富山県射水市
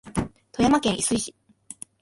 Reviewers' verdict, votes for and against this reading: accepted, 2, 1